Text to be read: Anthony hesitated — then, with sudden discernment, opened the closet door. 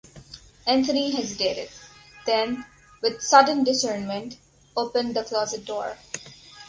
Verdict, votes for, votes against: rejected, 2, 2